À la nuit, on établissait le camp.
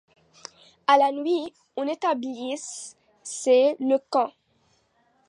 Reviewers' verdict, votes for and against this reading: rejected, 0, 2